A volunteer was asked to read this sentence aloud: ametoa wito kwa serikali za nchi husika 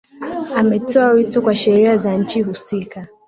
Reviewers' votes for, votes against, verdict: 0, 2, rejected